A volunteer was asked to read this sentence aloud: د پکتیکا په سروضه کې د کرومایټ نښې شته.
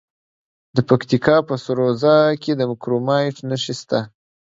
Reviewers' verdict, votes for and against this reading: rejected, 0, 2